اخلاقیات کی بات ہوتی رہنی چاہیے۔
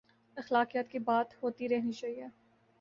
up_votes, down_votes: 2, 0